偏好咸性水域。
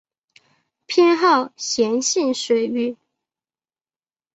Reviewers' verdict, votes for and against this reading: accepted, 4, 3